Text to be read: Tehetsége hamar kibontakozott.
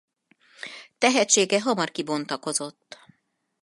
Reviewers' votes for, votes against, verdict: 4, 0, accepted